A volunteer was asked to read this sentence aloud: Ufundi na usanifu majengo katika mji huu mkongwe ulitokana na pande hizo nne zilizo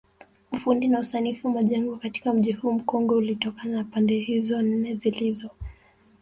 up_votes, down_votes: 2, 1